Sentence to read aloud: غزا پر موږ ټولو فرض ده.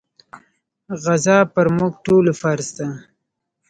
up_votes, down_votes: 1, 2